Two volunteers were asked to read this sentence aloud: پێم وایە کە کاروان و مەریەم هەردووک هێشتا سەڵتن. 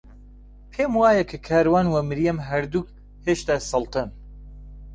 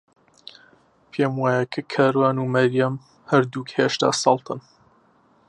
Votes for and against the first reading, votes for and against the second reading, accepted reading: 1, 2, 3, 0, second